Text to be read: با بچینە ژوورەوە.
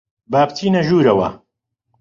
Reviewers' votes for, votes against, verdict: 2, 0, accepted